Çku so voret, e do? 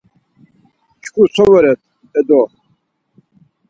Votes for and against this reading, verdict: 4, 0, accepted